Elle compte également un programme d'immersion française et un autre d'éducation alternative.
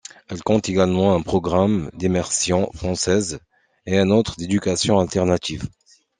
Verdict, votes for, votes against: accepted, 2, 0